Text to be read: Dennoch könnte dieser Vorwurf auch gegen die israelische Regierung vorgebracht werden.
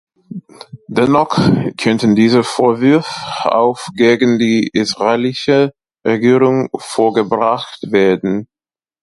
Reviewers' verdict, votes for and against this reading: rejected, 0, 2